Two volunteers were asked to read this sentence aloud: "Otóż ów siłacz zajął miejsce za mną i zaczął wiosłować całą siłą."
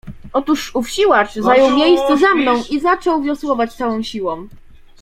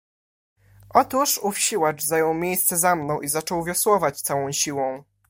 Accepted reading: second